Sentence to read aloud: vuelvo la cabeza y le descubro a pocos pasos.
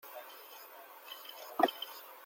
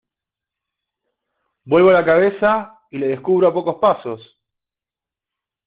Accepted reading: second